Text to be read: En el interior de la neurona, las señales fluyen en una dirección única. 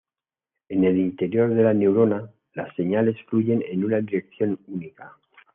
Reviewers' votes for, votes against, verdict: 2, 1, accepted